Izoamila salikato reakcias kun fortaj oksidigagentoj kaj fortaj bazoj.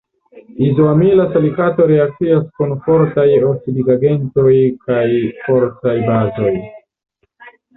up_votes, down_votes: 1, 2